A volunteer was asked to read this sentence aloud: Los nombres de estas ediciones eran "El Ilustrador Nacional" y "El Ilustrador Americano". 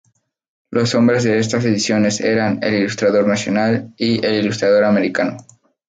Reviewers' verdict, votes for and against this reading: accepted, 2, 0